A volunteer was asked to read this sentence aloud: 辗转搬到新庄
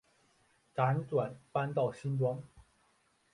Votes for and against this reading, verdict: 1, 2, rejected